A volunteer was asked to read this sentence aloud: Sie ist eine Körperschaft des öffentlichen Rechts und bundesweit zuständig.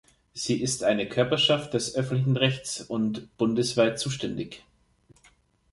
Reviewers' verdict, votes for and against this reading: rejected, 1, 2